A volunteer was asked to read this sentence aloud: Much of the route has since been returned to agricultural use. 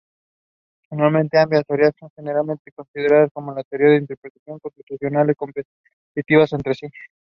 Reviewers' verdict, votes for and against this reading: rejected, 0, 3